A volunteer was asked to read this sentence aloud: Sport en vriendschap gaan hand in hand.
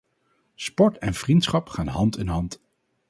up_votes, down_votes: 2, 0